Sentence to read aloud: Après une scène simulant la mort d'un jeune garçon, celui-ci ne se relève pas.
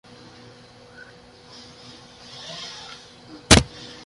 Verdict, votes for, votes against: rejected, 0, 2